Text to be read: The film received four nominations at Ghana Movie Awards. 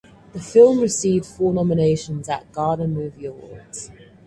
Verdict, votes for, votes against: accepted, 4, 0